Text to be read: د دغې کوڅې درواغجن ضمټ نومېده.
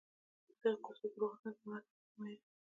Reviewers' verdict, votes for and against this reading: rejected, 0, 2